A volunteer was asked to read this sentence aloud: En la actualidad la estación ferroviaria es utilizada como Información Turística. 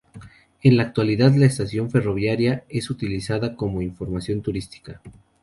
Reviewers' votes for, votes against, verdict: 2, 0, accepted